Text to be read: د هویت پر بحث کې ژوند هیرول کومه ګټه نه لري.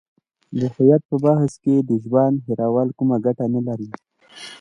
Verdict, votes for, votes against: accepted, 2, 0